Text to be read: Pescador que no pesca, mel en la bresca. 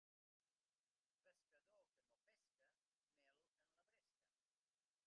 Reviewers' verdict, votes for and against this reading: rejected, 1, 3